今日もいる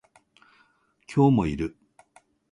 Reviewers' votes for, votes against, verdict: 2, 0, accepted